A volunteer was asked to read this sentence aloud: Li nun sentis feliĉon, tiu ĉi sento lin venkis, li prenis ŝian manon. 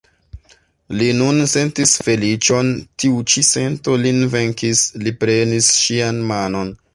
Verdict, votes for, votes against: accepted, 2, 0